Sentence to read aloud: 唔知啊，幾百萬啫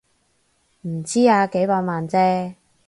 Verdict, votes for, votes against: accepted, 8, 0